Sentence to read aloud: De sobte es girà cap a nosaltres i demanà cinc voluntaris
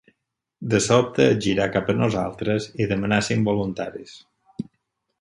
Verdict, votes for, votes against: accepted, 4, 0